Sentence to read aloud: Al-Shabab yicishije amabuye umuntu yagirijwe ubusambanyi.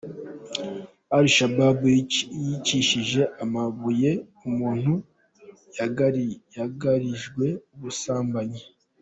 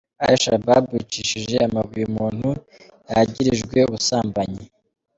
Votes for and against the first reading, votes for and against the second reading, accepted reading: 0, 2, 2, 0, second